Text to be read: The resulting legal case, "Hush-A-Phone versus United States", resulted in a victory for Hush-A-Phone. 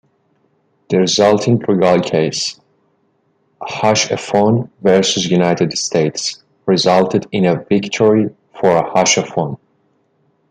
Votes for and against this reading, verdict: 1, 2, rejected